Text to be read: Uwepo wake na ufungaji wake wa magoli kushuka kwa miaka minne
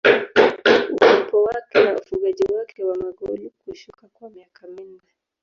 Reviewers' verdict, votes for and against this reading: rejected, 1, 2